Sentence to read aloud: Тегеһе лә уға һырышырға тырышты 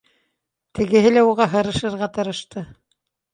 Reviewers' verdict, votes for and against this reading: accepted, 2, 0